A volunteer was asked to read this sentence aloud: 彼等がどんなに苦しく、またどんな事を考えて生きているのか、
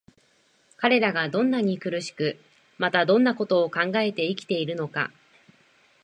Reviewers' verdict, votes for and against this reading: accepted, 2, 0